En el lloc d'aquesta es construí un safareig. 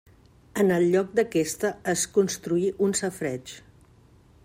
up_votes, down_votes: 2, 0